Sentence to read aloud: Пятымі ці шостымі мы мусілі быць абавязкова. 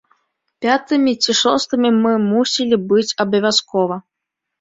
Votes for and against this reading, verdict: 2, 0, accepted